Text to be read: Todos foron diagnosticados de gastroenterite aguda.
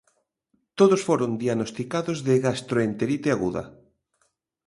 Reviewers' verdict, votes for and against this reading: accepted, 2, 0